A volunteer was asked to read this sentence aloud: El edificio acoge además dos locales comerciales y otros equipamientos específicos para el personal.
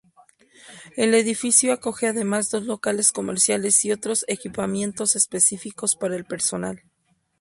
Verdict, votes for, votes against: accepted, 4, 0